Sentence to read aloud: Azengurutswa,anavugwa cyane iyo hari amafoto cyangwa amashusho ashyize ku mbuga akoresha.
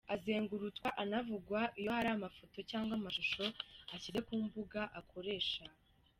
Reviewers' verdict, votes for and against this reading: rejected, 0, 2